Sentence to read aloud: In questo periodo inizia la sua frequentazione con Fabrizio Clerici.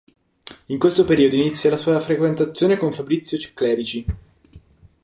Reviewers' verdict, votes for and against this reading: rejected, 0, 2